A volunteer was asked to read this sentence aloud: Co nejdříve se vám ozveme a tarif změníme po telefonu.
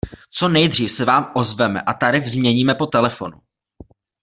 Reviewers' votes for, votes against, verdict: 0, 2, rejected